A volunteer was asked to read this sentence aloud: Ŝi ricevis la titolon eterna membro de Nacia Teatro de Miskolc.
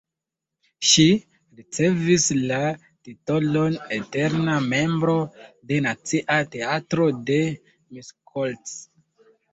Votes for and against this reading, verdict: 2, 0, accepted